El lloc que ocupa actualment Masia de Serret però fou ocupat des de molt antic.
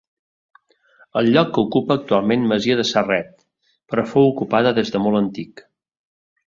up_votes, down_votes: 1, 2